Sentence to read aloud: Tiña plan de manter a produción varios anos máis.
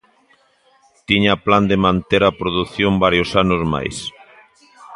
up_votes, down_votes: 2, 1